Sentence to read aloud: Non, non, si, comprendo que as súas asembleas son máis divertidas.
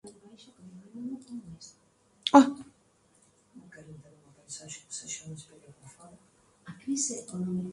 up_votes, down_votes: 0, 2